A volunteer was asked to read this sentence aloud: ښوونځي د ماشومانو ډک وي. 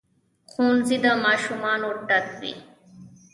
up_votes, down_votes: 1, 2